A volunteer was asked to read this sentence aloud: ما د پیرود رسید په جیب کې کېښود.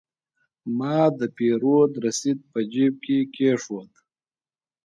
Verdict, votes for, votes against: rejected, 1, 2